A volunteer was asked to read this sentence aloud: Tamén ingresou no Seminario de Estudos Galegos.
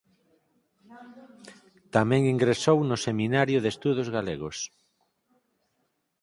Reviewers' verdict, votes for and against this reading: accepted, 4, 0